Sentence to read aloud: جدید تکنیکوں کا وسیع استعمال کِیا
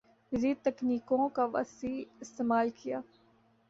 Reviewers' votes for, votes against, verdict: 2, 0, accepted